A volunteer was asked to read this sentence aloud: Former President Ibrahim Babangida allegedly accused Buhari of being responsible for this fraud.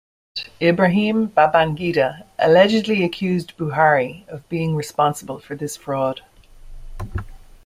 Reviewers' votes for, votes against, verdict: 1, 2, rejected